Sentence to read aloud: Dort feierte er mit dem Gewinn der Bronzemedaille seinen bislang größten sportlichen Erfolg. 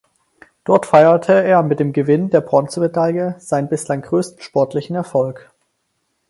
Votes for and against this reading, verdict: 4, 0, accepted